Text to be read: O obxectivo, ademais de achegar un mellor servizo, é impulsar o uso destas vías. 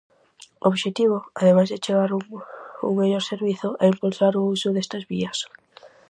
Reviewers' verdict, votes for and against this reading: rejected, 0, 4